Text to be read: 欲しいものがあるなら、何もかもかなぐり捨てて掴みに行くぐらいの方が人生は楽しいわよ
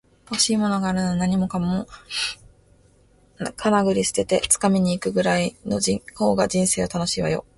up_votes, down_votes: 0, 2